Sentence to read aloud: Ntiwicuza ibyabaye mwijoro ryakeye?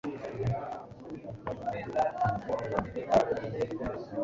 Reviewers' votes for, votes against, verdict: 0, 2, rejected